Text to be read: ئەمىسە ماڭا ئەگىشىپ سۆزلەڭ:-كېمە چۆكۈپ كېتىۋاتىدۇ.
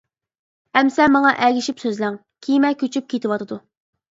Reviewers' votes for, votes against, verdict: 0, 2, rejected